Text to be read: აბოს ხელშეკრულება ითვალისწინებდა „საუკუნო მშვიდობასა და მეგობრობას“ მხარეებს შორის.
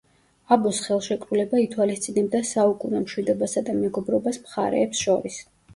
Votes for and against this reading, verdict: 2, 0, accepted